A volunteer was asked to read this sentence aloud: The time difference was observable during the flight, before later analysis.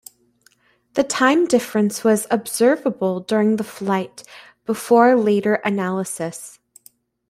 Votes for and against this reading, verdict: 2, 0, accepted